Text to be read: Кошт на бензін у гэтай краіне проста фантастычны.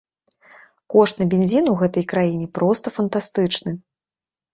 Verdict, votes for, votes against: accepted, 2, 0